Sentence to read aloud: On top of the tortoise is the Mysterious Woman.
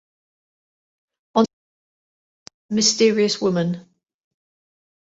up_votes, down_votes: 0, 2